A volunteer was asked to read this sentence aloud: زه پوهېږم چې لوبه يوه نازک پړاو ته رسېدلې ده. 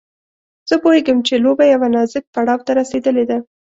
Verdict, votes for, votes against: accepted, 2, 0